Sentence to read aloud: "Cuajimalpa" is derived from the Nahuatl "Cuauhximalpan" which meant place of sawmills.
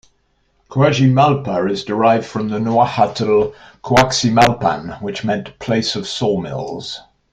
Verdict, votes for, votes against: accepted, 2, 0